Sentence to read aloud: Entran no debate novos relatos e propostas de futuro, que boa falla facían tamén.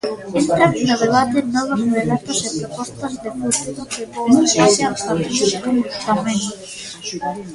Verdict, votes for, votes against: rejected, 0, 2